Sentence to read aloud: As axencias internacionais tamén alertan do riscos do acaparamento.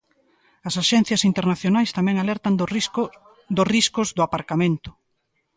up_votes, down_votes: 0, 2